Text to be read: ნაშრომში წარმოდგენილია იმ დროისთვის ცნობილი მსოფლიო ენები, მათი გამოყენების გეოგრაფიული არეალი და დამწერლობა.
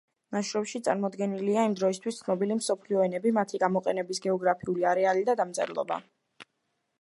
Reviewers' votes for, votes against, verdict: 2, 0, accepted